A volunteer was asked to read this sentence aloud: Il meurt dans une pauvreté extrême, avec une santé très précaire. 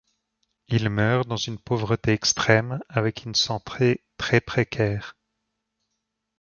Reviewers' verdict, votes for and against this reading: rejected, 1, 2